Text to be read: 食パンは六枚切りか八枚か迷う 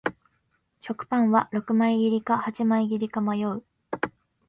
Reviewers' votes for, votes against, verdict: 1, 2, rejected